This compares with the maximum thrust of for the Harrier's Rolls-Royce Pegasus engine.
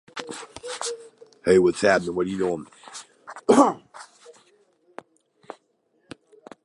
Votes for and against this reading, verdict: 0, 2, rejected